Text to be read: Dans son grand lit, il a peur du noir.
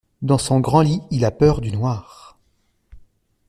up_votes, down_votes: 2, 0